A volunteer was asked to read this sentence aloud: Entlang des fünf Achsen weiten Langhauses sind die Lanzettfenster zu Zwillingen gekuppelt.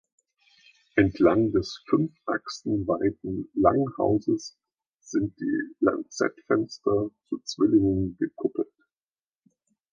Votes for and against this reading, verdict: 1, 2, rejected